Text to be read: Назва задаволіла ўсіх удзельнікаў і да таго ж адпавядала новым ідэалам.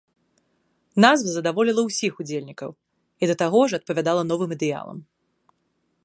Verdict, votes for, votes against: accepted, 2, 1